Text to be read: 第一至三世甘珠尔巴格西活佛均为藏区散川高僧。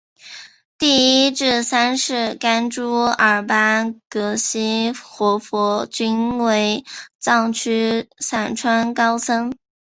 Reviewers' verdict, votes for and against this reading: accepted, 5, 0